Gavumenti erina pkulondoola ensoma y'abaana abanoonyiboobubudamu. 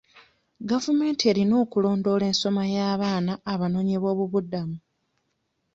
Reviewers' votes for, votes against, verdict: 1, 2, rejected